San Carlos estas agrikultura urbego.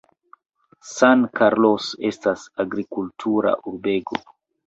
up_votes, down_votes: 2, 0